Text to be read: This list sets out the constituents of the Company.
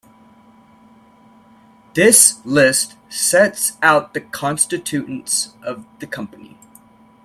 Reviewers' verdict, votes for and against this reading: rejected, 0, 2